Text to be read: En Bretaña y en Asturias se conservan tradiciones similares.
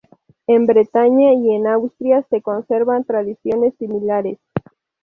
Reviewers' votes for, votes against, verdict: 0, 2, rejected